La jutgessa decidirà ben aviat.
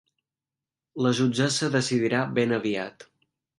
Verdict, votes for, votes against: accepted, 2, 0